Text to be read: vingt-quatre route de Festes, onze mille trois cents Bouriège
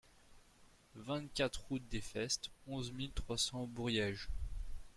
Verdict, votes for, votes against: rejected, 0, 2